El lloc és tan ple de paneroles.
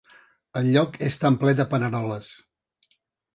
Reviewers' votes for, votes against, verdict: 3, 0, accepted